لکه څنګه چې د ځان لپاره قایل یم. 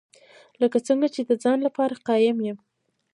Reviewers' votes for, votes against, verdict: 1, 2, rejected